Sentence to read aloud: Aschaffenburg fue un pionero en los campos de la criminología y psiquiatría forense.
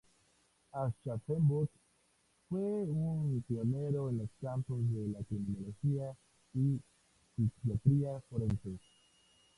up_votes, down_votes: 0, 2